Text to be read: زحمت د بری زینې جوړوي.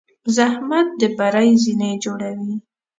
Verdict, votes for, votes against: accepted, 2, 0